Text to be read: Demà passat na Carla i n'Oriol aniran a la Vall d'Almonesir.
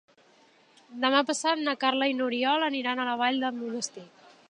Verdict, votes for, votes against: rejected, 1, 4